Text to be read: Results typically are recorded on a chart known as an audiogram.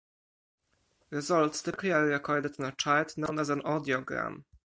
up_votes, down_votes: 4, 0